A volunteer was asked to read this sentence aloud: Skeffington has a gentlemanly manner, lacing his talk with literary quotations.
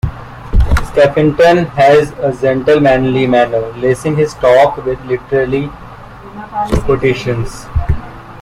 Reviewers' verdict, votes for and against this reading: rejected, 0, 2